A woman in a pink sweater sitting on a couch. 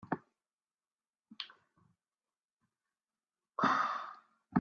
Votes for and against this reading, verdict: 0, 3, rejected